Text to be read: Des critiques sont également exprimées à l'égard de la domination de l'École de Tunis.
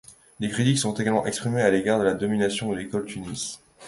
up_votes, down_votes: 1, 2